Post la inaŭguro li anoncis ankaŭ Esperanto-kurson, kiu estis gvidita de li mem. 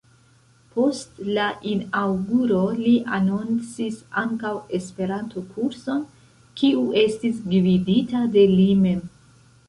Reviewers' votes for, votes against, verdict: 0, 2, rejected